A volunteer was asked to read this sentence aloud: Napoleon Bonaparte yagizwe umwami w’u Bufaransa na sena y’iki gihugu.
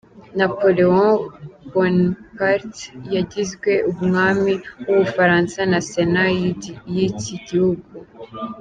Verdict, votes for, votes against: rejected, 0, 2